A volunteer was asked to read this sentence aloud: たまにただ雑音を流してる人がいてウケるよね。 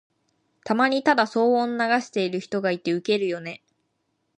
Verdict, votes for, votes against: rejected, 0, 2